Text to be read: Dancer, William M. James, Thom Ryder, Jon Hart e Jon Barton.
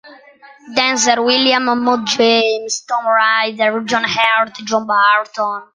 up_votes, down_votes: 0, 2